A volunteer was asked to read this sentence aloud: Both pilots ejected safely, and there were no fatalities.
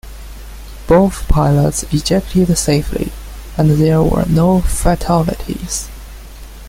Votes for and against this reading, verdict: 2, 0, accepted